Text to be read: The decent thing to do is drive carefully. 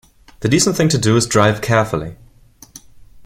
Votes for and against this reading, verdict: 2, 0, accepted